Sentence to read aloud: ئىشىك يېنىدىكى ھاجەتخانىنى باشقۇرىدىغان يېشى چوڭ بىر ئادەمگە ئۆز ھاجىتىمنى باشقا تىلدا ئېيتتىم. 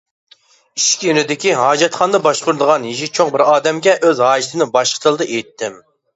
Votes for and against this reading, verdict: 0, 2, rejected